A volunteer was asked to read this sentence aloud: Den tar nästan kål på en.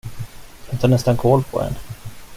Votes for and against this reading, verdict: 2, 1, accepted